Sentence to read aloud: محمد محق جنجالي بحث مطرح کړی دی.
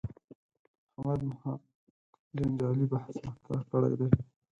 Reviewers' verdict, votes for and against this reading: rejected, 2, 6